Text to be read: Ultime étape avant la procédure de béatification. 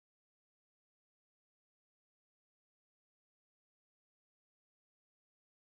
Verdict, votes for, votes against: rejected, 0, 2